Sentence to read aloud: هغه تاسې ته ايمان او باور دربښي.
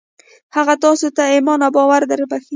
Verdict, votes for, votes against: accepted, 2, 0